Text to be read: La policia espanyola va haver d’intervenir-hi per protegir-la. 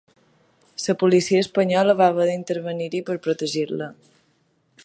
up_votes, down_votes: 1, 2